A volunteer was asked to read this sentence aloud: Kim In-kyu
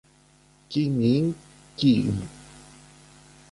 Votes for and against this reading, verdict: 1, 2, rejected